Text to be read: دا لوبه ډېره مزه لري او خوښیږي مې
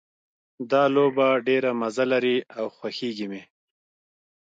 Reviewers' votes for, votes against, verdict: 2, 0, accepted